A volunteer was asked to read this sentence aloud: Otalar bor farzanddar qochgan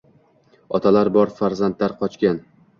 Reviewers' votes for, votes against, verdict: 1, 2, rejected